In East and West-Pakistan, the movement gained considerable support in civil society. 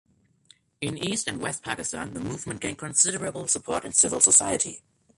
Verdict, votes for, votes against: accepted, 2, 0